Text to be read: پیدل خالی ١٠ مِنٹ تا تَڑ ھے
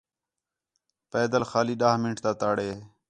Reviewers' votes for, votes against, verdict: 0, 2, rejected